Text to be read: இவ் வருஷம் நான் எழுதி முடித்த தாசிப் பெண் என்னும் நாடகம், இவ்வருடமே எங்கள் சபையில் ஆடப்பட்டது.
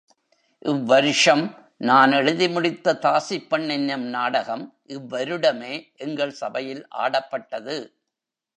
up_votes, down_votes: 2, 0